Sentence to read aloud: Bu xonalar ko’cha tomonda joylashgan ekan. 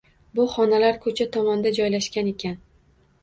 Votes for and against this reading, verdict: 2, 1, accepted